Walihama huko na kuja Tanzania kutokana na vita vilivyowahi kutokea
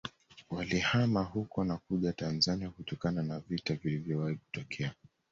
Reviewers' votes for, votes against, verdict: 2, 0, accepted